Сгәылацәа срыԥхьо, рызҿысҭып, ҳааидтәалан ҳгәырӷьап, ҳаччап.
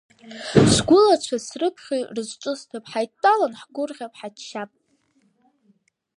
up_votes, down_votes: 2, 0